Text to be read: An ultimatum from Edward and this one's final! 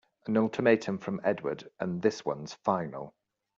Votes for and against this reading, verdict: 2, 0, accepted